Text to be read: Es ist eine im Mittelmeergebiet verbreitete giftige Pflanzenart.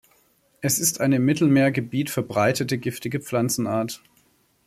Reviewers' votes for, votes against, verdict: 2, 0, accepted